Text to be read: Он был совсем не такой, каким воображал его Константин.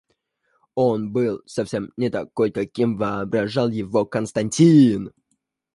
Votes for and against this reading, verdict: 2, 0, accepted